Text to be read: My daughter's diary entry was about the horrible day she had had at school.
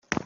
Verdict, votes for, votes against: rejected, 0, 2